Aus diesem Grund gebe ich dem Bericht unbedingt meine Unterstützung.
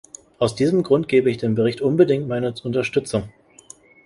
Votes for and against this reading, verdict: 1, 2, rejected